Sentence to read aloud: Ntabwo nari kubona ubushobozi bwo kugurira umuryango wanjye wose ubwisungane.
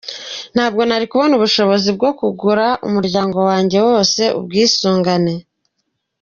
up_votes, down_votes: 0, 2